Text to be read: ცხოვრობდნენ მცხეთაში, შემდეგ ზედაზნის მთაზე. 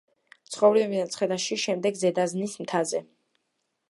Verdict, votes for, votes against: rejected, 1, 2